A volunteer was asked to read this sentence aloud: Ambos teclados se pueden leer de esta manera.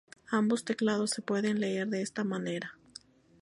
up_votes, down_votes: 2, 0